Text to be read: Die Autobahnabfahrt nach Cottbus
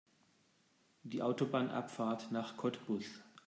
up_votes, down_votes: 2, 0